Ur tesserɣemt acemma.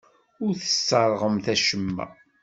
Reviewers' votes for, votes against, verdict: 2, 0, accepted